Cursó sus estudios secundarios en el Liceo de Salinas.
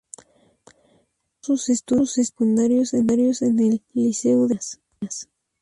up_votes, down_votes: 2, 2